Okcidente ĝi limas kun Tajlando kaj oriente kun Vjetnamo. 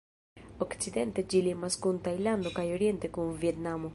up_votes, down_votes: 1, 2